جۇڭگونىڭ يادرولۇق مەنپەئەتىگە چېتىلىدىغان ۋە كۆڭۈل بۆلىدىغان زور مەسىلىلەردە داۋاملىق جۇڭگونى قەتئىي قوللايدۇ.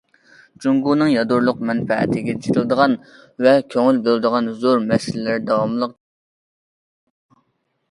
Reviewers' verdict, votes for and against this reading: rejected, 0, 2